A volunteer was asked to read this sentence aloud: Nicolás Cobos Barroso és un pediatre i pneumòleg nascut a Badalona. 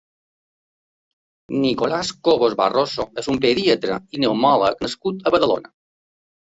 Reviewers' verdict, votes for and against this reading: rejected, 1, 2